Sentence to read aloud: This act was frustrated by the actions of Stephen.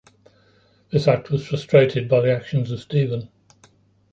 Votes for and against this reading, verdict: 3, 1, accepted